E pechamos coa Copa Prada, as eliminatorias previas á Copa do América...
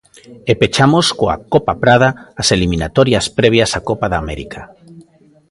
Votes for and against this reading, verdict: 1, 2, rejected